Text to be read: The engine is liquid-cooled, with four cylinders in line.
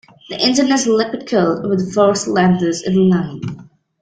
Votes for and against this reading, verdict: 1, 2, rejected